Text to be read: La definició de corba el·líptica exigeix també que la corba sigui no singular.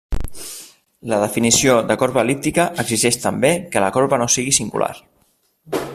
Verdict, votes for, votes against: rejected, 0, 2